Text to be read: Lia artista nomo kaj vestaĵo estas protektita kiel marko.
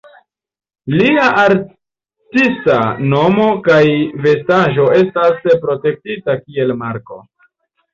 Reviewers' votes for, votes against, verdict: 2, 0, accepted